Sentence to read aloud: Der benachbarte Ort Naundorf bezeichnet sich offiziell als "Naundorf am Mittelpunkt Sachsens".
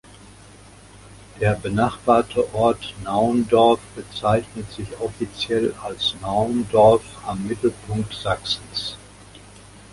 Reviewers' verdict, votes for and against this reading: accepted, 2, 0